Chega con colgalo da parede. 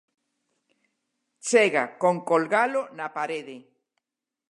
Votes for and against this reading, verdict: 0, 2, rejected